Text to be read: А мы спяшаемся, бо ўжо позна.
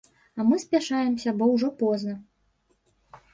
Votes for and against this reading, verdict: 2, 0, accepted